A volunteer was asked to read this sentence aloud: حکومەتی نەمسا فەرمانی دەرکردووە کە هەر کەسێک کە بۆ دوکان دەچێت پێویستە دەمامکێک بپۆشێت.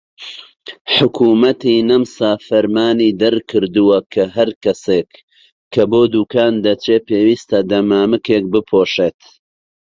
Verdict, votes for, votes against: accepted, 2, 0